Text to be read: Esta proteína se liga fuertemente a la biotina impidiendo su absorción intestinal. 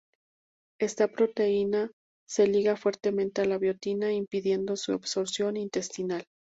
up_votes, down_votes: 2, 0